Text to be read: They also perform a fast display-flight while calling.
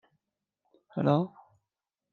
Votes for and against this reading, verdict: 0, 2, rejected